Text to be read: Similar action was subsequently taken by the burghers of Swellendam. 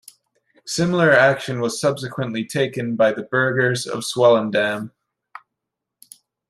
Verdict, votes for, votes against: accepted, 2, 0